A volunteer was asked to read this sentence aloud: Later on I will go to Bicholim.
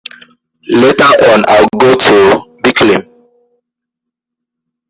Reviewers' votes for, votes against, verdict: 0, 2, rejected